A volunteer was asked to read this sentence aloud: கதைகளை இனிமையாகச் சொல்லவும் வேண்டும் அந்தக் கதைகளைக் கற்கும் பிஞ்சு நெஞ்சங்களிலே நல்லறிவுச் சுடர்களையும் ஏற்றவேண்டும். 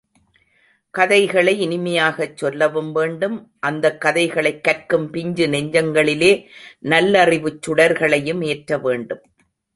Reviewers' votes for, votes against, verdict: 2, 0, accepted